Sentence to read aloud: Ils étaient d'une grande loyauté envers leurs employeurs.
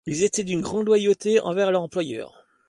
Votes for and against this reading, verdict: 2, 0, accepted